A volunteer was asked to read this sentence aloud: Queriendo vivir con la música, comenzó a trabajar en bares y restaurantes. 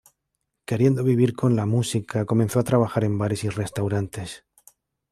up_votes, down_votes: 2, 0